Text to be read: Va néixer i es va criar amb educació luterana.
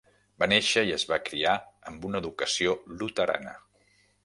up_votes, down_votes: 0, 2